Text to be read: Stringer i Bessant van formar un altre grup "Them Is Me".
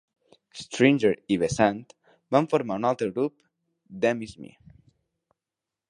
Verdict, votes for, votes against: accepted, 2, 0